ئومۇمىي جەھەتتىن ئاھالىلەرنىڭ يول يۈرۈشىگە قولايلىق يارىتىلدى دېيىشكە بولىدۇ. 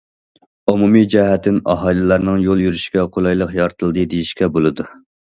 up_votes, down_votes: 2, 0